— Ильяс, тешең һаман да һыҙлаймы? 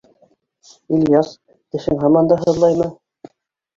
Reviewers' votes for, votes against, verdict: 2, 1, accepted